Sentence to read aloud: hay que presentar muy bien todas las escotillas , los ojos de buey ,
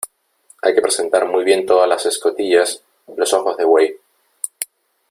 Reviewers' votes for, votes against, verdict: 3, 0, accepted